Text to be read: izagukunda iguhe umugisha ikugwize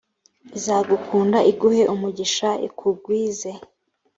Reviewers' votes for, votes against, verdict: 3, 0, accepted